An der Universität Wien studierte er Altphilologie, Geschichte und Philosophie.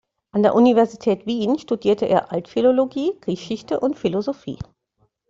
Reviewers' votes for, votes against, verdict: 2, 0, accepted